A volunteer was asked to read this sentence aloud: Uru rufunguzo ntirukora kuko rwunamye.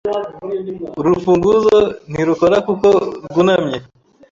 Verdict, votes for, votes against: accepted, 2, 0